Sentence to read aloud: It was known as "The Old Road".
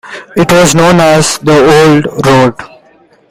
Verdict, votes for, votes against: rejected, 0, 2